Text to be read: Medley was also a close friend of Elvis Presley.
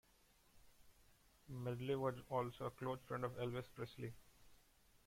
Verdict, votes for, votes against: accepted, 2, 1